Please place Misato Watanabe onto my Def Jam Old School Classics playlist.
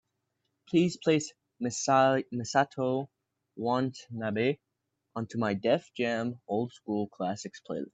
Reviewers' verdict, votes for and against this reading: rejected, 0, 2